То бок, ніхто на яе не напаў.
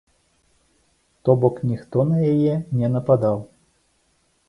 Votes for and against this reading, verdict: 0, 2, rejected